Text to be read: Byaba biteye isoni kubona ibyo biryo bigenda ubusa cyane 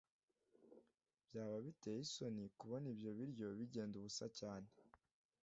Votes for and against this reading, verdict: 2, 0, accepted